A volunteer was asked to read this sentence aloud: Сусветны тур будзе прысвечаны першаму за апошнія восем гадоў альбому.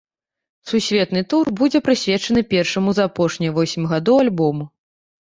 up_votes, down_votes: 0, 2